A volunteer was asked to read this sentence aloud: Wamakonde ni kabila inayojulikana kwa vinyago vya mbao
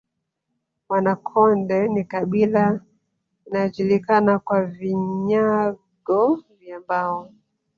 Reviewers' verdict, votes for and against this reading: rejected, 0, 3